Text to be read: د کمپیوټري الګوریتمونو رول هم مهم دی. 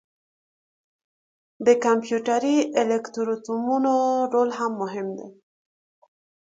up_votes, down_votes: 0, 2